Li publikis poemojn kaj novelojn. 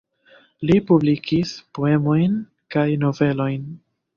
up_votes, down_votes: 1, 2